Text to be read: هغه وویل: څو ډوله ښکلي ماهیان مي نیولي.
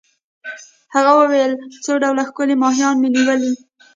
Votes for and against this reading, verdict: 1, 2, rejected